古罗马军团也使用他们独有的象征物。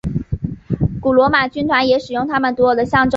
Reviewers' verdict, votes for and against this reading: accepted, 2, 1